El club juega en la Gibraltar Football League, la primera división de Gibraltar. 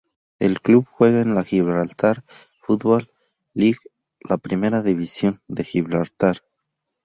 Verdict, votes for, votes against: rejected, 0, 2